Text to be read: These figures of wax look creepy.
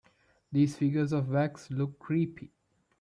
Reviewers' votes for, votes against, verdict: 2, 0, accepted